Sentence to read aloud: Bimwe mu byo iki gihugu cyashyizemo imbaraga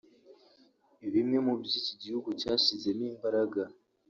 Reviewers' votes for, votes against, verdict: 3, 1, accepted